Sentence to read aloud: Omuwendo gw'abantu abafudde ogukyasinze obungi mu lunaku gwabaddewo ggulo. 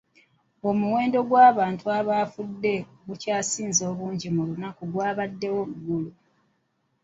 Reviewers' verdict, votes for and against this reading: rejected, 0, 2